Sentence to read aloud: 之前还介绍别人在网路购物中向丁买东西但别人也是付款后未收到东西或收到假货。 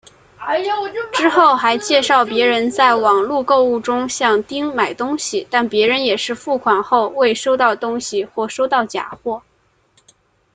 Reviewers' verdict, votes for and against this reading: rejected, 0, 2